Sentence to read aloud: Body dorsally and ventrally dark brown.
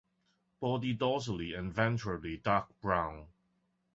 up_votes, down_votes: 2, 0